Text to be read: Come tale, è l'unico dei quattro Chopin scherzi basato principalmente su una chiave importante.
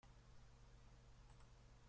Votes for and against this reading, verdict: 0, 2, rejected